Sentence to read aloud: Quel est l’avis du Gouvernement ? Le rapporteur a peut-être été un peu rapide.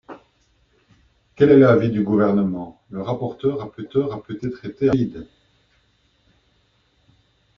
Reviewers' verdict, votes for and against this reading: rejected, 0, 2